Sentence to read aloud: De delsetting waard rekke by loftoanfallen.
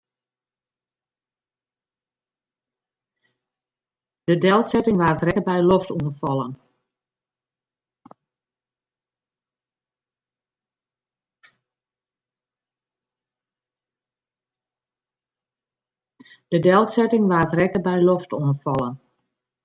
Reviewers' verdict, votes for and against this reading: rejected, 0, 2